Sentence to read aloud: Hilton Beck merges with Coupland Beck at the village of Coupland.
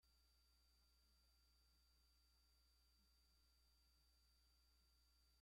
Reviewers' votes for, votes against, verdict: 0, 2, rejected